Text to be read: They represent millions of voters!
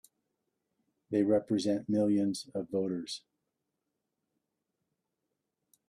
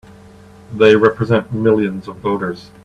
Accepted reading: second